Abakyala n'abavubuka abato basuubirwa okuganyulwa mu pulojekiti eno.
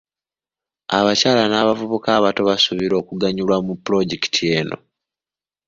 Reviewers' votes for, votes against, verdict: 2, 0, accepted